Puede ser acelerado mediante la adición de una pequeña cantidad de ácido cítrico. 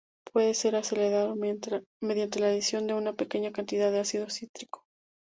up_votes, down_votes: 2, 0